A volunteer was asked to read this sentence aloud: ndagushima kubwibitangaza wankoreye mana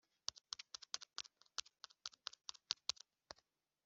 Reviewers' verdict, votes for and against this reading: rejected, 0, 2